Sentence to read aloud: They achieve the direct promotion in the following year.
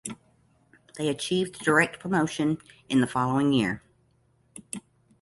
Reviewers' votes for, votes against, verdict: 2, 0, accepted